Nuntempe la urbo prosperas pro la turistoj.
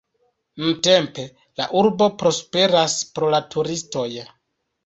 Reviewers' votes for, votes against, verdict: 2, 0, accepted